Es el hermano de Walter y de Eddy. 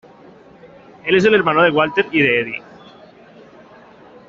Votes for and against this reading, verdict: 2, 1, accepted